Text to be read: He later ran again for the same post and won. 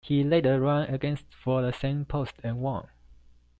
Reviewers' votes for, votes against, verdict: 1, 2, rejected